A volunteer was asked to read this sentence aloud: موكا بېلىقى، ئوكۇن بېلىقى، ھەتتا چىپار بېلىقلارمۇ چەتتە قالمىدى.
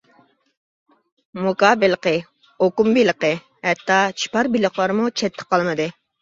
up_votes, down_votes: 2, 1